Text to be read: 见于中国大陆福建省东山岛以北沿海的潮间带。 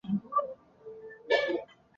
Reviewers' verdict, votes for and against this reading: rejected, 1, 3